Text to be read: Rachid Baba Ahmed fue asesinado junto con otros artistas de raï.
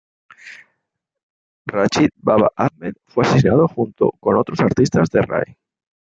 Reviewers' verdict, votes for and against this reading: accepted, 2, 0